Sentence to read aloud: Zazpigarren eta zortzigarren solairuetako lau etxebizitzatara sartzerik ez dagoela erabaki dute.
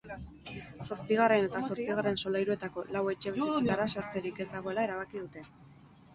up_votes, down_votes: 4, 0